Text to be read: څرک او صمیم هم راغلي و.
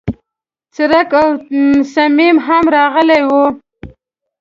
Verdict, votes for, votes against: rejected, 0, 2